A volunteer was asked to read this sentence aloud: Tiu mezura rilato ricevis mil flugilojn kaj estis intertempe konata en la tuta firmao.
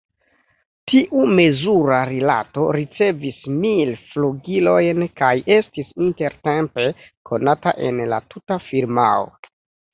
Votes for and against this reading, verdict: 2, 0, accepted